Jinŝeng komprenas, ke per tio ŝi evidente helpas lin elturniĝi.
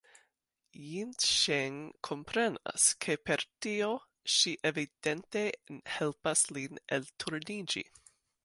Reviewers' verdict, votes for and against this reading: accepted, 2, 1